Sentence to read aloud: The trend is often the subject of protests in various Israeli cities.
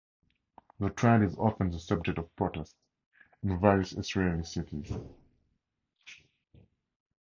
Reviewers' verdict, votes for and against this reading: rejected, 0, 2